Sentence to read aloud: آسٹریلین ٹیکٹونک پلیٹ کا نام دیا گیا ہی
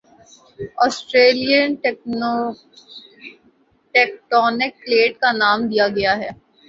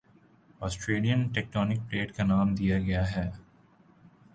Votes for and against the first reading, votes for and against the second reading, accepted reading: 0, 2, 3, 0, second